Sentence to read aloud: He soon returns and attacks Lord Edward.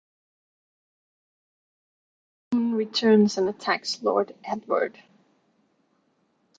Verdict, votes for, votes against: rejected, 1, 2